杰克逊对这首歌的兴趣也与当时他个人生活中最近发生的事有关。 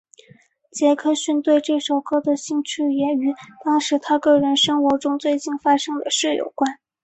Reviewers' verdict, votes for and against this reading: accepted, 2, 0